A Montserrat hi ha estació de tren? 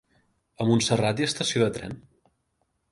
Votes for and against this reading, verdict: 4, 0, accepted